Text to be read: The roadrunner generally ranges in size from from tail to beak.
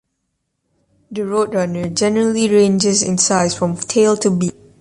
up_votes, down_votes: 2, 1